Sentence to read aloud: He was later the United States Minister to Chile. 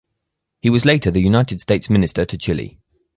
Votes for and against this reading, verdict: 4, 0, accepted